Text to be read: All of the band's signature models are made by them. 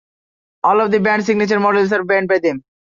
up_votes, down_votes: 1, 2